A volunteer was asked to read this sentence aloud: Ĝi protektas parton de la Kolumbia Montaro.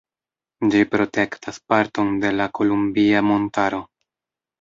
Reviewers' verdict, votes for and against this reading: rejected, 1, 2